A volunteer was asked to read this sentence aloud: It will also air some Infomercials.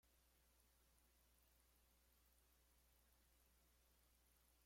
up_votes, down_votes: 0, 2